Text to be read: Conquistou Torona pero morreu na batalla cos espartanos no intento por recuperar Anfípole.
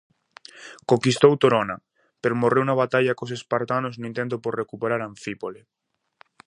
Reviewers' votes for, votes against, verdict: 2, 0, accepted